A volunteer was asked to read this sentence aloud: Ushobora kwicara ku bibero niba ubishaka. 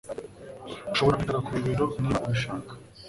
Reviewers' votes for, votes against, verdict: 1, 2, rejected